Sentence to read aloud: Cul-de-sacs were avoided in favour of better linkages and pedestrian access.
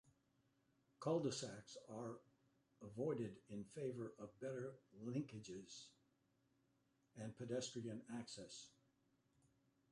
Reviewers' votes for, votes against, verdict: 2, 0, accepted